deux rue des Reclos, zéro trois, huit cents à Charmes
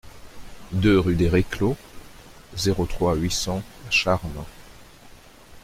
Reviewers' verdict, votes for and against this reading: rejected, 1, 2